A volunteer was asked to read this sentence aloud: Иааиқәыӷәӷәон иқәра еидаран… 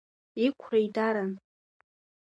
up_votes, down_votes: 0, 3